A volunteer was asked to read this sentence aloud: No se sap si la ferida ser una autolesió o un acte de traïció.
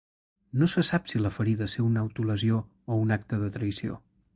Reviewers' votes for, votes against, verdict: 4, 0, accepted